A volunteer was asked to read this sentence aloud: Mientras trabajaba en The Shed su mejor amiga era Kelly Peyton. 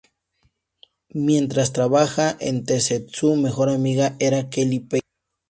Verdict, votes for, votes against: rejected, 0, 2